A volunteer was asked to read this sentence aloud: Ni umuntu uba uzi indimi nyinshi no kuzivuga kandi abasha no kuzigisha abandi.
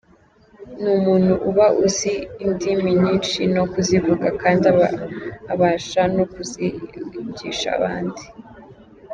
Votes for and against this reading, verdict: 0, 2, rejected